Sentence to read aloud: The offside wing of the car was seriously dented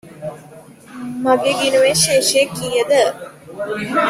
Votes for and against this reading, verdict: 0, 2, rejected